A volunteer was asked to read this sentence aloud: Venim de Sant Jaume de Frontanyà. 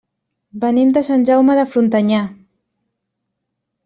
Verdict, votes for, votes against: accepted, 3, 0